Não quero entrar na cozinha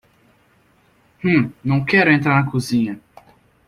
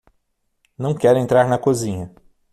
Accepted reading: second